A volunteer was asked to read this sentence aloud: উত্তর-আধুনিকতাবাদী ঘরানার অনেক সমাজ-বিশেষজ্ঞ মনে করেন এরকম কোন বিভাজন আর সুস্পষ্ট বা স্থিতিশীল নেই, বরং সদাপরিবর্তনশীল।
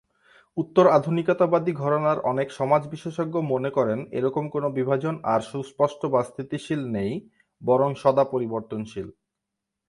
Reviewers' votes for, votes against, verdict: 6, 0, accepted